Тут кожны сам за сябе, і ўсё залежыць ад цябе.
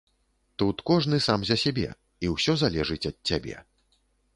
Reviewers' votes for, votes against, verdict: 2, 0, accepted